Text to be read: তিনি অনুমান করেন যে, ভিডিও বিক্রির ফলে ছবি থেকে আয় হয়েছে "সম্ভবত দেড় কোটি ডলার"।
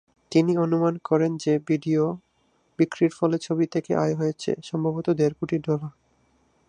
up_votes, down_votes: 2, 2